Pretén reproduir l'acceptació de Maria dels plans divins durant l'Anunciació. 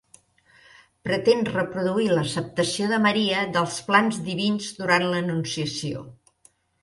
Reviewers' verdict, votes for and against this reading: accepted, 2, 0